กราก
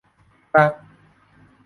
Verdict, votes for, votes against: rejected, 0, 2